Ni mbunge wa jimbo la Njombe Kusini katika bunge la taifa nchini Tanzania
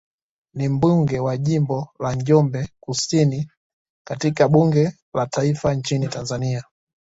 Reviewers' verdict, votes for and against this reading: accepted, 2, 0